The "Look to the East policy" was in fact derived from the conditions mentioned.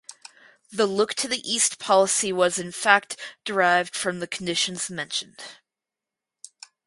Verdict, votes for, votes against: accepted, 4, 0